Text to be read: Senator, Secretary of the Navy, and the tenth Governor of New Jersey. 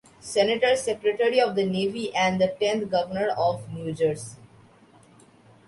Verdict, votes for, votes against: accepted, 3, 2